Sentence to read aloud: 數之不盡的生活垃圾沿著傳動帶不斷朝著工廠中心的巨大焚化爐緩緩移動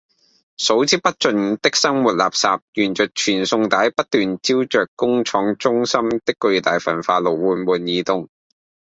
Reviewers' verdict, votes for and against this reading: rejected, 0, 2